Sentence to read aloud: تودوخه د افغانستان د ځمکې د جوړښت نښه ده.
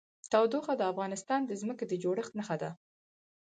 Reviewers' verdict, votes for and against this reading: rejected, 0, 4